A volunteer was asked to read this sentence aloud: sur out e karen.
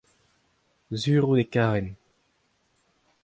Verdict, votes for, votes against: accepted, 2, 0